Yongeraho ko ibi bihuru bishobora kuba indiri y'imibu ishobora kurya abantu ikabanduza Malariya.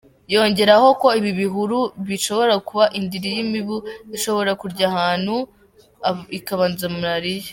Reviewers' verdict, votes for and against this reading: rejected, 0, 2